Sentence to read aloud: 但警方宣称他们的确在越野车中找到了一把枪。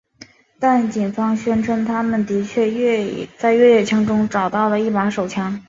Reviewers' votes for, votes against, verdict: 1, 3, rejected